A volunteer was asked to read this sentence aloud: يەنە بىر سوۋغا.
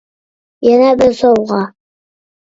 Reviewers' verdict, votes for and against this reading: accepted, 2, 1